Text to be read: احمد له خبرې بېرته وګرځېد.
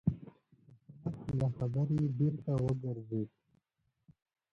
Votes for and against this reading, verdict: 2, 1, accepted